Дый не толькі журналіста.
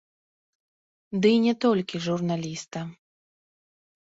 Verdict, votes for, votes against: rejected, 1, 3